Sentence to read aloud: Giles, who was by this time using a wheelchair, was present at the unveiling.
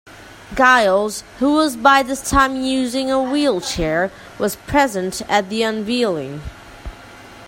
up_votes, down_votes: 0, 2